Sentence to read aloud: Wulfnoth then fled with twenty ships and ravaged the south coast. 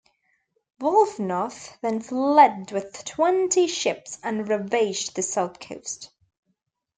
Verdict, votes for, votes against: rejected, 1, 2